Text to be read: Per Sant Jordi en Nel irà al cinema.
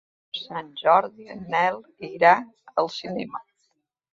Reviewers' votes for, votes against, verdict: 0, 2, rejected